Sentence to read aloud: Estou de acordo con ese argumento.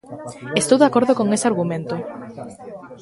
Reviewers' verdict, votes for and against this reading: rejected, 1, 2